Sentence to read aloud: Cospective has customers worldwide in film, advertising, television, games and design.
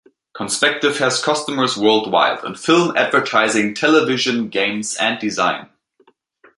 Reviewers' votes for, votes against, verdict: 1, 2, rejected